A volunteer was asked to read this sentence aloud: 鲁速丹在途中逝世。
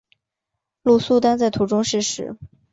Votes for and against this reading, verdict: 3, 0, accepted